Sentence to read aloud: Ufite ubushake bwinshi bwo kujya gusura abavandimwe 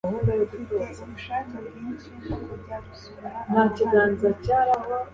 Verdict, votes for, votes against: accepted, 2, 0